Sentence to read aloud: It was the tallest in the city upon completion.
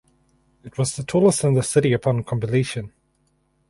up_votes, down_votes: 2, 2